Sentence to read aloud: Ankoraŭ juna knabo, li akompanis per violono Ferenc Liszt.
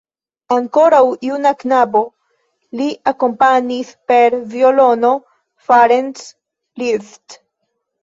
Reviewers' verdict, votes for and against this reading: rejected, 1, 2